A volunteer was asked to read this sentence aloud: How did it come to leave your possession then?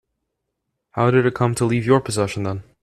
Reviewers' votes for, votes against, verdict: 2, 0, accepted